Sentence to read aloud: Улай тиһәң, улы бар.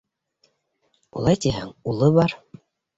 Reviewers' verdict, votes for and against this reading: accepted, 2, 0